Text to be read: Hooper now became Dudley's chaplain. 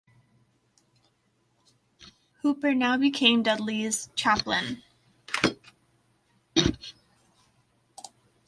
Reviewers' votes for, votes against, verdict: 1, 2, rejected